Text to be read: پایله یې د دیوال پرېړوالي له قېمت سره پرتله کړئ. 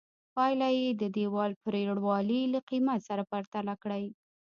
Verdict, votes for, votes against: accepted, 2, 1